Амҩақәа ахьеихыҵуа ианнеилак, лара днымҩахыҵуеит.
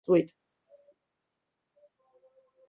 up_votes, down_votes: 0, 2